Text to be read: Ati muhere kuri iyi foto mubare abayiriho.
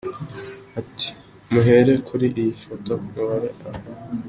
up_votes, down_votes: 2, 0